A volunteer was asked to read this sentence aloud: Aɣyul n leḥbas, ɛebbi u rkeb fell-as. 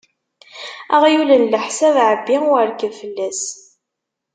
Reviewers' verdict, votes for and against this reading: rejected, 1, 2